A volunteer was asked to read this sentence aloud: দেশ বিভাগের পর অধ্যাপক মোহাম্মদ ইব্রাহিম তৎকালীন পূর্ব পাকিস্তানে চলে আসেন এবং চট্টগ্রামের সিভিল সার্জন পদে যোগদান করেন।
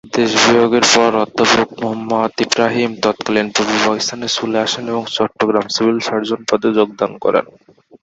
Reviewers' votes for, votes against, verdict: 2, 2, rejected